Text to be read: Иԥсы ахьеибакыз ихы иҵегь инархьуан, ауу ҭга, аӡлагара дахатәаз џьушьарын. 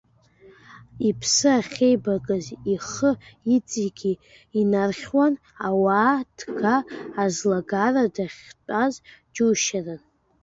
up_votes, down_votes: 1, 2